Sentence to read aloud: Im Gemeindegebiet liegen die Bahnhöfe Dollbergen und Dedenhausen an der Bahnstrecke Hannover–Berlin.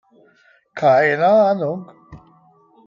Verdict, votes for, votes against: rejected, 0, 2